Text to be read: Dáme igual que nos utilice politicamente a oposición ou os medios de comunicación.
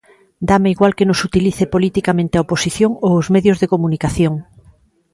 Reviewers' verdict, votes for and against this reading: accepted, 2, 0